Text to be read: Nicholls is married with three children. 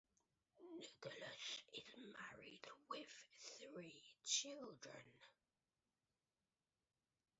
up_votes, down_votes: 0, 2